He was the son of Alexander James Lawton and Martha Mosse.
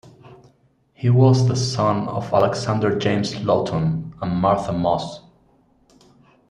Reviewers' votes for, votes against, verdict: 2, 0, accepted